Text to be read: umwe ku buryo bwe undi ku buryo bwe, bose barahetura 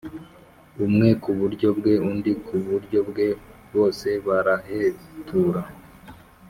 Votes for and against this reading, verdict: 2, 0, accepted